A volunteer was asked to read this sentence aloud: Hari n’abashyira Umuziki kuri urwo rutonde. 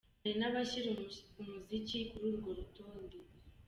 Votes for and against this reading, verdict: 1, 2, rejected